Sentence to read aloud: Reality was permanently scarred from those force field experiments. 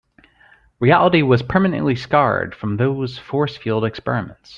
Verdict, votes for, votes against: rejected, 1, 2